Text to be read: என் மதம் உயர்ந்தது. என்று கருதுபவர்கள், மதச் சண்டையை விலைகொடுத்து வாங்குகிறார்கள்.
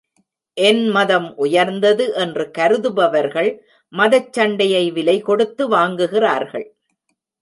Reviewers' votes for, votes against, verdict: 1, 2, rejected